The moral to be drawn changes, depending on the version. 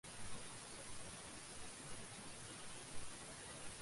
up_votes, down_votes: 0, 3